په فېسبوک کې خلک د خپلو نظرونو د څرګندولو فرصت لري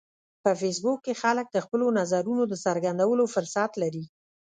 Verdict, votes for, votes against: rejected, 1, 2